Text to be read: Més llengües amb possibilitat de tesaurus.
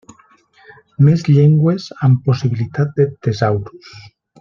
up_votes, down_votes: 2, 0